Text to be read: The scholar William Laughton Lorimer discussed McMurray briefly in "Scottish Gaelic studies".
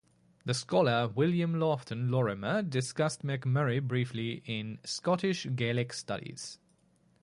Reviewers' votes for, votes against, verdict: 4, 0, accepted